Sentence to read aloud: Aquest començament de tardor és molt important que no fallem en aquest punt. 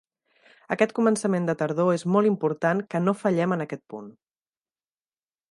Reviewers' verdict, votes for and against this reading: accepted, 3, 0